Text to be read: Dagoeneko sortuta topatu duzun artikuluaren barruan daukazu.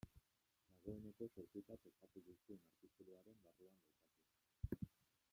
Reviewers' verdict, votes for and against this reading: rejected, 0, 2